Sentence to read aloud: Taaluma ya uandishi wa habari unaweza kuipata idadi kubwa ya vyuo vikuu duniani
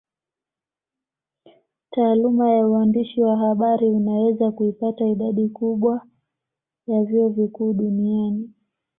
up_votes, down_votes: 2, 0